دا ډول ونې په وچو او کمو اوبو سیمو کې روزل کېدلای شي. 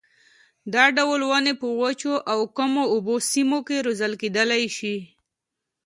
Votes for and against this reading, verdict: 0, 2, rejected